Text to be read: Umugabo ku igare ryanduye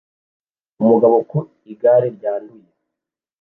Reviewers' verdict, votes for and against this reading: accepted, 2, 0